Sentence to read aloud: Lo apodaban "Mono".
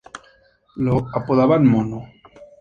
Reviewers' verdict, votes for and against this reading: rejected, 0, 2